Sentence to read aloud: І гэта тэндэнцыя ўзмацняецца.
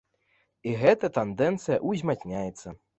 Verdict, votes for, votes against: rejected, 1, 2